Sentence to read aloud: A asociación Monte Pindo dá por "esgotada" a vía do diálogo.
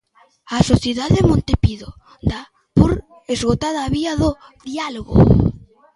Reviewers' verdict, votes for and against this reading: rejected, 0, 2